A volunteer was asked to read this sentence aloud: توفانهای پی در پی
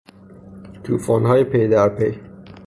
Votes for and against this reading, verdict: 3, 0, accepted